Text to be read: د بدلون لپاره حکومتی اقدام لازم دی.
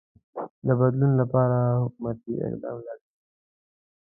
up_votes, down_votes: 0, 2